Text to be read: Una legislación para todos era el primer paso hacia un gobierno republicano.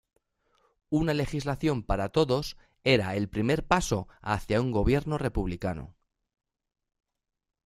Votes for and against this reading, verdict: 1, 2, rejected